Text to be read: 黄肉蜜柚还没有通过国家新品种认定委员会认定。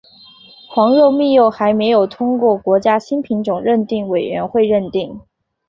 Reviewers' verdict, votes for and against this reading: accepted, 4, 0